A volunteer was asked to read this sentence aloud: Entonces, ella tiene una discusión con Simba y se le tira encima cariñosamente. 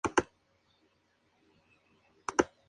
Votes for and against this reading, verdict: 0, 2, rejected